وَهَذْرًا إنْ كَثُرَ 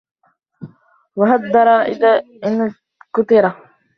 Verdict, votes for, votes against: rejected, 0, 2